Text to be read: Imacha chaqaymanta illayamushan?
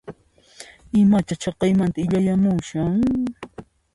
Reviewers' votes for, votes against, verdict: 2, 0, accepted